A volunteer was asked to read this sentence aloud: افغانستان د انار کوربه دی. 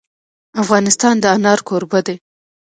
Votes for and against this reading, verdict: 2, 0, accepted